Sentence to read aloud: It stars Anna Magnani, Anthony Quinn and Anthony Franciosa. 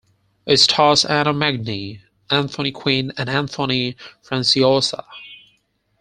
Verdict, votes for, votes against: accepted, 4, 2